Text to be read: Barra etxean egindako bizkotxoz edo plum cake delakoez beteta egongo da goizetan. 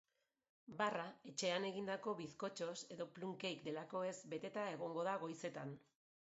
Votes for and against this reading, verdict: 3, 2, accepted